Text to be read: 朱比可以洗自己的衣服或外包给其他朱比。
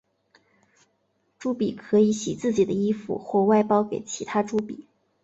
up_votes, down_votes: 8, 0